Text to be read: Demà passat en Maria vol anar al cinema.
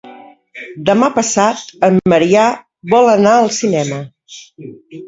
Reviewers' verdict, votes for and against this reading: rejected, 0, 2